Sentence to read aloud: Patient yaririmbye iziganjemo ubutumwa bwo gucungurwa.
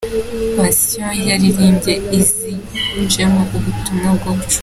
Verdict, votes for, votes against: rejected, 0, 2